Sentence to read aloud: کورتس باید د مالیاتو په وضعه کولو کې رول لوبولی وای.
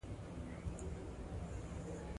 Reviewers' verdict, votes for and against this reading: rejected, 0, 2